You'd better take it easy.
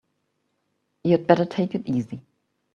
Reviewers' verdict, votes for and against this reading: accepted, 2, 0